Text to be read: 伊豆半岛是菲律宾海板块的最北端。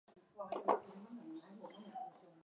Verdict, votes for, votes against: rejected, 0, 4